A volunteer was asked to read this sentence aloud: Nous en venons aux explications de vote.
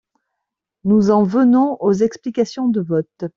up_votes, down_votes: 2, 0